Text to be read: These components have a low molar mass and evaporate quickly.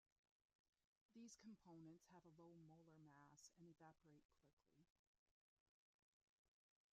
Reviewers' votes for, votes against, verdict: 0, 2, rejected